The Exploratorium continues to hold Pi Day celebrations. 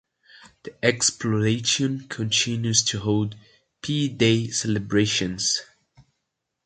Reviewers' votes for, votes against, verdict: 0, 2, rejected